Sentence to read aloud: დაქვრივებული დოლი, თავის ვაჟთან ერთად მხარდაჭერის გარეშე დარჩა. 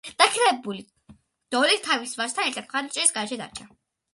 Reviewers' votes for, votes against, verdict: 2, 1, accepted